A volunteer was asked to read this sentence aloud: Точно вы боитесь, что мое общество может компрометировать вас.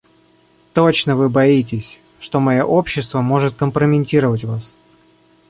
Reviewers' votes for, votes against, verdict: 0, 2, rejected